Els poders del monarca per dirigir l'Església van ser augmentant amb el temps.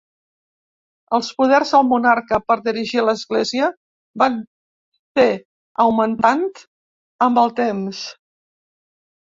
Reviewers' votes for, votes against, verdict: 0, 2, rejected